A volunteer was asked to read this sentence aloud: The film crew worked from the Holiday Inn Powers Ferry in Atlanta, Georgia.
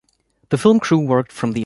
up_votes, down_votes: 0, 2